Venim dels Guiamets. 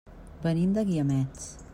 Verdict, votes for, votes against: accepted, 2, 1